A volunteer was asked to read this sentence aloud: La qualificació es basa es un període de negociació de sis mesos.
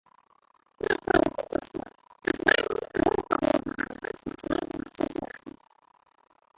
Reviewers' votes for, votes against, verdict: 0, 2, rejected